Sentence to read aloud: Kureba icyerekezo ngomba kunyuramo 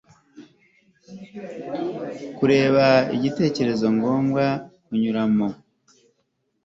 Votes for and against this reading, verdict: 1, 2, rejected